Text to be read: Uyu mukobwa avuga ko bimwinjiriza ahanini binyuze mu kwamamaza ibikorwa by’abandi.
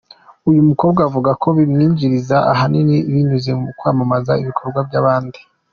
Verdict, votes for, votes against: accepted, 2, 0